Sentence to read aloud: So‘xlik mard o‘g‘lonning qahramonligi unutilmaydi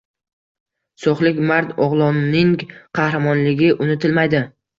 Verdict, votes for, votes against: accepted, 2, 0